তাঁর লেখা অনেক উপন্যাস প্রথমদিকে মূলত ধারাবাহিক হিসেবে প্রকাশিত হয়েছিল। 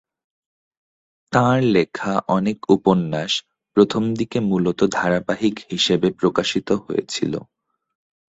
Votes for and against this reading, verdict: 4, 0, accepted